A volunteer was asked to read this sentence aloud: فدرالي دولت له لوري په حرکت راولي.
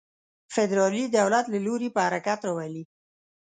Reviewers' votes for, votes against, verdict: 2, 0, accepted